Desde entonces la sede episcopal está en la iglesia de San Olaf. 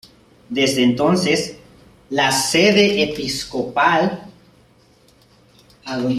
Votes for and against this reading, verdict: 0, 2, rejected